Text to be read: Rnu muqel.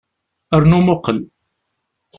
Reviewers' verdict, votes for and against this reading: accepted, 2, 0